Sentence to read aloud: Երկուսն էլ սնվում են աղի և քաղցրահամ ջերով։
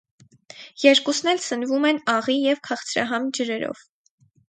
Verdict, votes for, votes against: rejected, 2, 2